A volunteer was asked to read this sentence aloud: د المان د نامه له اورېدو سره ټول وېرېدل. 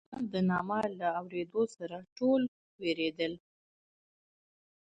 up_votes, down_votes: 0, 2